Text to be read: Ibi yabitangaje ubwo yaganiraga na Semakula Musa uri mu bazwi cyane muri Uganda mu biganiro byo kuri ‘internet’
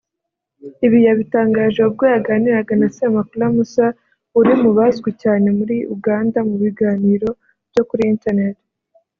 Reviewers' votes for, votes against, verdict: 2, 0, accepted